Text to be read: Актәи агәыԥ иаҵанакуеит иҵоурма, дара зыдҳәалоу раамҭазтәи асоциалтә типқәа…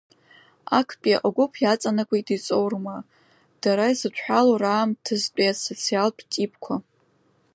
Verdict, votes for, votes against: accepted, 2, 1